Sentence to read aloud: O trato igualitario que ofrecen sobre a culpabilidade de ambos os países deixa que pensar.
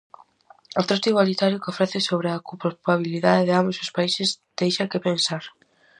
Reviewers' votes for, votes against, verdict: 2, 2, rejected